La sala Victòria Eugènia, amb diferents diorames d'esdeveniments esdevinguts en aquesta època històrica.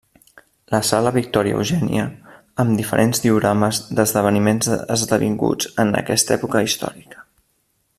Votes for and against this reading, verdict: 0, 2, rejected